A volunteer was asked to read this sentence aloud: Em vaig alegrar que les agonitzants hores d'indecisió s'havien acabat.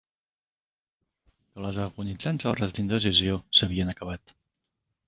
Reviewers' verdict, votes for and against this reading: rejected, 0, 2